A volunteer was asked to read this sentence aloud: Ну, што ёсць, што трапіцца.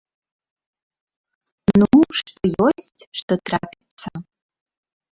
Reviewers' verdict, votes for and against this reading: rejected, 0, 2